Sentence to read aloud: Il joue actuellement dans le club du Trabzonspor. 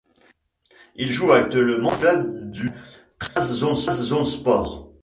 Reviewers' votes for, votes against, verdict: 1, 2, rejected